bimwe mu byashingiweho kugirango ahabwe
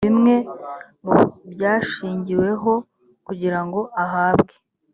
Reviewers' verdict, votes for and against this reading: accepted, 2, 0